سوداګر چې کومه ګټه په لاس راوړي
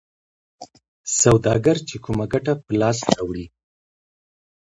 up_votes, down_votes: 2, 0